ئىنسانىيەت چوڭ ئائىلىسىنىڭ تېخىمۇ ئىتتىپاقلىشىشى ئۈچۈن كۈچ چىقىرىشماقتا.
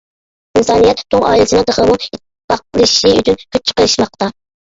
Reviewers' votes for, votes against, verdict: 1, 2, rejected